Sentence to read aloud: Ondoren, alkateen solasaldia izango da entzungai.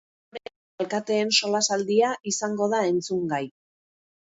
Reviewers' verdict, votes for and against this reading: rejected, 0, 2